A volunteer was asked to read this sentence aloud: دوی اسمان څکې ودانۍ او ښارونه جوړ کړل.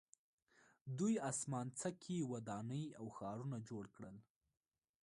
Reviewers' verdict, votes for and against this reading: rejected, 0, 2